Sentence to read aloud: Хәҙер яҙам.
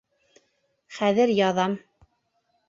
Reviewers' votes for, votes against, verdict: 2, 0, accepted